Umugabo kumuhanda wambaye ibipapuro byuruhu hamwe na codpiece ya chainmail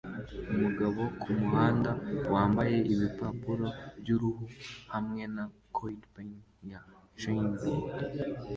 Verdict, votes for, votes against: accepted, 2, 1